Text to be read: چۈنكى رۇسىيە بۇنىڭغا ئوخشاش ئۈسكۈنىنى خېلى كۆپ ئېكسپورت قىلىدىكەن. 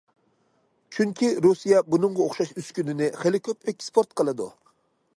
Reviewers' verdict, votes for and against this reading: rejected, 1, 2